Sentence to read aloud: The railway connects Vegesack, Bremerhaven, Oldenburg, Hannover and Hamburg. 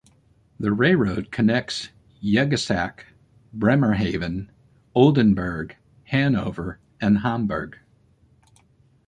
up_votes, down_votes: 0, 2